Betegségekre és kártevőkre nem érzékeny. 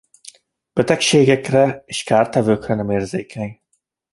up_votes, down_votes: 2, 0